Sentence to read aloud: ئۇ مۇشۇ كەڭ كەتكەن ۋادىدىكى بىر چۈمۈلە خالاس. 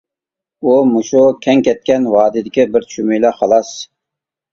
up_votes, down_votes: 3, 0